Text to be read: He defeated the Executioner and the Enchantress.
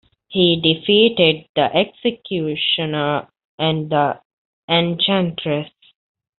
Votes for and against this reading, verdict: 2, 0, accepted